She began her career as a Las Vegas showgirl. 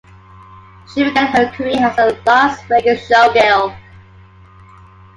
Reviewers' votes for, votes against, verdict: 2, 1, accepted